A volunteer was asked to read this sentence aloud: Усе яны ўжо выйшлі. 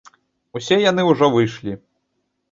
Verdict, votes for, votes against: accepted, 2, 0